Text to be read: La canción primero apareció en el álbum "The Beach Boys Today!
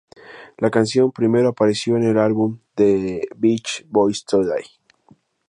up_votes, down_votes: 2, 0